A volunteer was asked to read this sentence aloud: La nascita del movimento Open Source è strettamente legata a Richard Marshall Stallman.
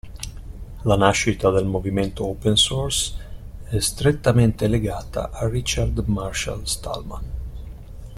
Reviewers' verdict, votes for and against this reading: accepted, 2, 0